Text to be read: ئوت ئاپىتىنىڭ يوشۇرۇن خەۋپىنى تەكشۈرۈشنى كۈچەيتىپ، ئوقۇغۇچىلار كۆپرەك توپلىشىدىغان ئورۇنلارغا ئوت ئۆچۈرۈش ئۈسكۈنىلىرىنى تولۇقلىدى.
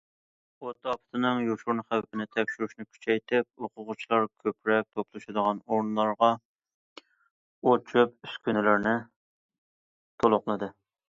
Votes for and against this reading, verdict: 0, 2, rejected